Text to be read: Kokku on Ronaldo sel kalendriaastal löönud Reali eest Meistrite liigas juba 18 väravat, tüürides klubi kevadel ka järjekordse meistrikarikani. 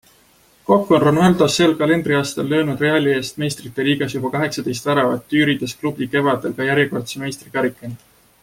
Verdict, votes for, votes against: rejected, 0, 2